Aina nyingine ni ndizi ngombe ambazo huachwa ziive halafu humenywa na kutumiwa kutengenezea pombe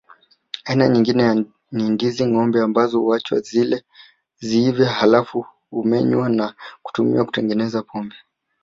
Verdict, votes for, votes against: rejected, 1, 2